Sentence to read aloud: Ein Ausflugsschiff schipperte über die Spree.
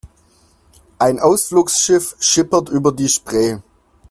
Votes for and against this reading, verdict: 0, 2, rejected